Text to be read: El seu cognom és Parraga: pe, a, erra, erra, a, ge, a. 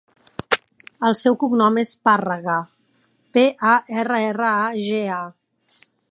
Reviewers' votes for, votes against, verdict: 0, 2, rejected